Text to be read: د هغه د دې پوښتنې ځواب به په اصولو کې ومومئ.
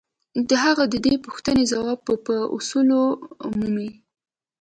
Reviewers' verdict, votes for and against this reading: accepted, 2, 0